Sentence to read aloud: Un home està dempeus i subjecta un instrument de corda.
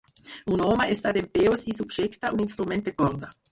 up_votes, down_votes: 2, 4